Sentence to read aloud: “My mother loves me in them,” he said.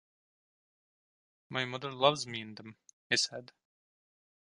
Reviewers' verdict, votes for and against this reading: rejected, 1, 2